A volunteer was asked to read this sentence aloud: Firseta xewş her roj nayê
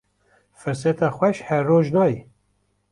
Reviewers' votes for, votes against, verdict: 2, 0, accepted